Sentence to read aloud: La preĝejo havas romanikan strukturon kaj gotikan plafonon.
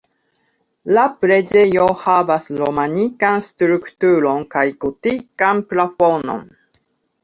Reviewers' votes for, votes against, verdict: 3, 1, accepted